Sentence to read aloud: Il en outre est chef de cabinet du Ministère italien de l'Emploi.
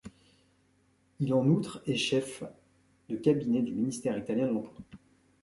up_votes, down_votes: 0, 2